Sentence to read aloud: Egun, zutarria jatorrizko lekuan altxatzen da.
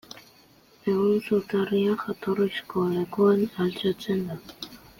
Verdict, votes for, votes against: accepted, 2, 1